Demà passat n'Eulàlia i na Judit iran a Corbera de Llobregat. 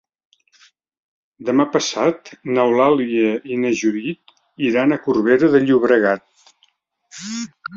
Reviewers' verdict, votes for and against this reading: accepted, 2, 0